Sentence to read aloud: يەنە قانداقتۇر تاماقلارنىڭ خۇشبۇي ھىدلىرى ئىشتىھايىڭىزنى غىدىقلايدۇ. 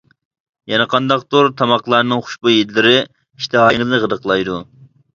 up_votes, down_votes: 0, 2